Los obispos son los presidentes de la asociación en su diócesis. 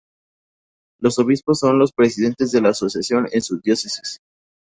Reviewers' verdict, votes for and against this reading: rejected, 0, 2